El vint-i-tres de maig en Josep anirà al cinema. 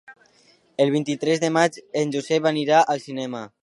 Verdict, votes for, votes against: accepted, 3, 0